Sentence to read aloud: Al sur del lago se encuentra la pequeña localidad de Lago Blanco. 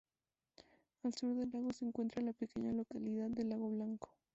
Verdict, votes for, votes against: accepted, 2, 0